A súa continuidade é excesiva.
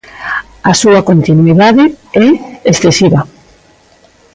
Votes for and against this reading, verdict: 2, 0, accepted